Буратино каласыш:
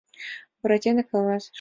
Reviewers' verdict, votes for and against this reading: accepted, 2, 0